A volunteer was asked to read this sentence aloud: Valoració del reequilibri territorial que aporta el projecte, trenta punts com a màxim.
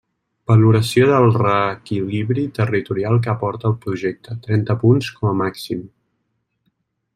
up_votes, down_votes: 2, 1